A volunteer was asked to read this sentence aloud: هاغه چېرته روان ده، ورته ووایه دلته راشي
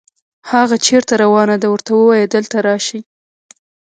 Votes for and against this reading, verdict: 0, 2, rejected